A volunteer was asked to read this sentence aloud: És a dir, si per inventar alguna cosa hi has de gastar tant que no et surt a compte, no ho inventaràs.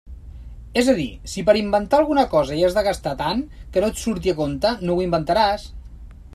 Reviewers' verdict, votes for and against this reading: rejected, 1, 2